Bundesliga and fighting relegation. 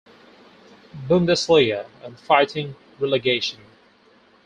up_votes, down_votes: 4, 0